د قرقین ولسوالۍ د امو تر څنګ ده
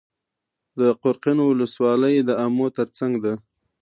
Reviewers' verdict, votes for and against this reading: accepted, 2, 0